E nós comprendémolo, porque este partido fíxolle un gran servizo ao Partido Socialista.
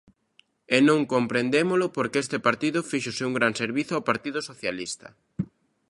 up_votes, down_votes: 0, 2